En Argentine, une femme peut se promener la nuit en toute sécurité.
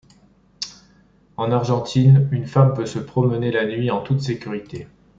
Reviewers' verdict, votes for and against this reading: accepted, 2, 0